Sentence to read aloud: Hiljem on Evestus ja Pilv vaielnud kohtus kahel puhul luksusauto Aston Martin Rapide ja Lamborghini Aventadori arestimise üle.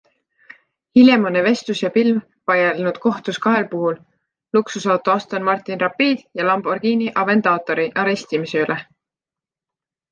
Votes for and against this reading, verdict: 1, 2, rejected